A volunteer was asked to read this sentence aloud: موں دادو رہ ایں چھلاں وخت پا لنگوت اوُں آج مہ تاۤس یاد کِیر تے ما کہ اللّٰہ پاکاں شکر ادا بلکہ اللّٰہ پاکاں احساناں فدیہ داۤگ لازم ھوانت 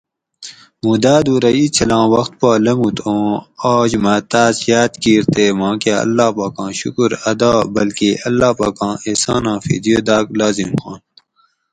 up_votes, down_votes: 4, 0